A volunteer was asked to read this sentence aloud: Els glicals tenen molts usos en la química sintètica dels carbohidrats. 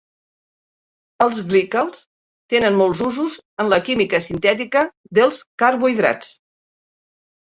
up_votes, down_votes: 4, 0